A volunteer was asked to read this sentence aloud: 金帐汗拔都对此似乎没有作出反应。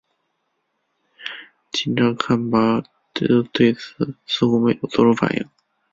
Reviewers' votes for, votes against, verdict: 1, 2, rejected